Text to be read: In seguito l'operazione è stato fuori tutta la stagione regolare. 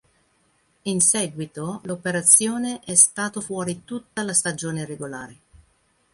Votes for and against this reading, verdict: 3, 0, accepted